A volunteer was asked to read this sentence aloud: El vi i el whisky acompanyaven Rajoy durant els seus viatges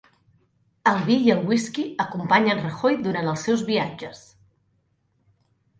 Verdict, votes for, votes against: rejected, 1, 2